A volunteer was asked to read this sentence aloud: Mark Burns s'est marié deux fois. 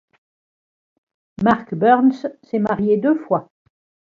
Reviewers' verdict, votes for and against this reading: accepted, 2, 0